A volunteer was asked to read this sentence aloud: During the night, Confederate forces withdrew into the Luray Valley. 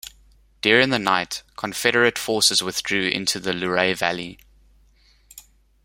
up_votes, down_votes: 2, 0